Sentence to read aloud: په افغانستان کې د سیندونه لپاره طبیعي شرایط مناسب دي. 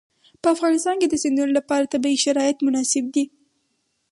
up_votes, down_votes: 0, 2